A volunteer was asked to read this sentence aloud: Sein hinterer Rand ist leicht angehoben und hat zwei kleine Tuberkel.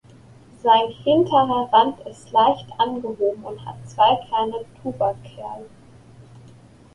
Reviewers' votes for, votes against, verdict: 0, 2, rejected